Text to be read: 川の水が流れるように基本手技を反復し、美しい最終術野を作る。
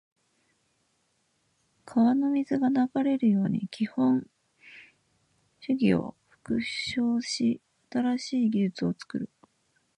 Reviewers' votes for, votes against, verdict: 0, 2, rejected